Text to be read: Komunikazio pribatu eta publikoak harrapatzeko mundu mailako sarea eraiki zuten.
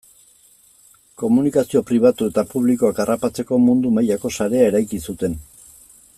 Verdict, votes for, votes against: accepted, 2, 0